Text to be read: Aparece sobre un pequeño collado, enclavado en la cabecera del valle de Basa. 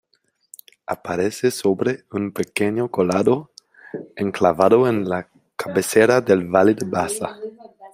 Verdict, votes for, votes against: rejected, 0, 2